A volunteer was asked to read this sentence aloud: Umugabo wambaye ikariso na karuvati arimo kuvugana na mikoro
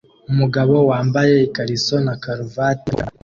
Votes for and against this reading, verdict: 0, 2, rejected